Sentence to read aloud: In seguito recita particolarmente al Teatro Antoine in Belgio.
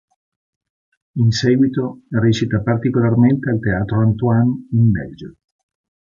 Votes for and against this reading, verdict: 3, 0, accepted